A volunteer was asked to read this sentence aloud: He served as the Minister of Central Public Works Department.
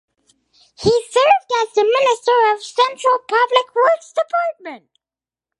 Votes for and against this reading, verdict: 2, 2, rejected